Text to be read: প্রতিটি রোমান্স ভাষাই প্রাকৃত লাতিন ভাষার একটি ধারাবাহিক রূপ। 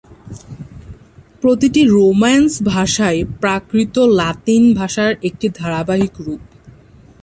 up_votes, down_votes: 3, 0